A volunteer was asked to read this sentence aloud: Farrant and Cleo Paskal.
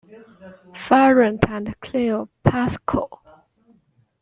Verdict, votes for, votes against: accepted, 2, 1